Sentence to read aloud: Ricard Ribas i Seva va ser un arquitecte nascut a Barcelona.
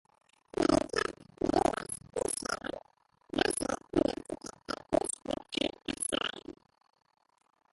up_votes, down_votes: 0, 2